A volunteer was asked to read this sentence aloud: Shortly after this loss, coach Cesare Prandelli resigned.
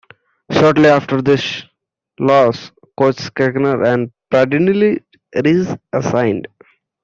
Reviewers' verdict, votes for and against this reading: rejected, 0, 2